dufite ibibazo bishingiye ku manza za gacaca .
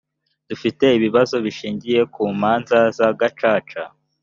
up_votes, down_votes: 3, 0